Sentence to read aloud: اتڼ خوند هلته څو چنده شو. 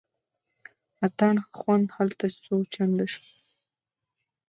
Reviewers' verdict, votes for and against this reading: accepted, 2, 1